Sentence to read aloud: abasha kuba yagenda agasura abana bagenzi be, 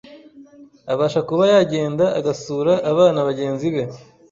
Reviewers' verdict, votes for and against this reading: accepted, 3, 0